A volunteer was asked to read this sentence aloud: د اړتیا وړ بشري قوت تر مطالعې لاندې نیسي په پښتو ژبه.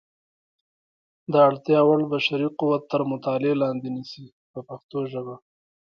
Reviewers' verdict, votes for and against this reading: accepted, 2, 1